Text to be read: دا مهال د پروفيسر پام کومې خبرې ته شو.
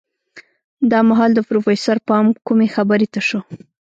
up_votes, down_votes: 1, 2